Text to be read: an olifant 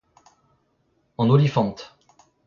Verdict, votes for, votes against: rejected, 1, 2